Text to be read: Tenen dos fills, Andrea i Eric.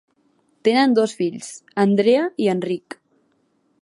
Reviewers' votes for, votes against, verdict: 0, 2, rejected